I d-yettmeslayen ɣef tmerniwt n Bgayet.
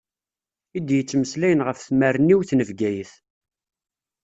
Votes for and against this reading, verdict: 2, 0, accepted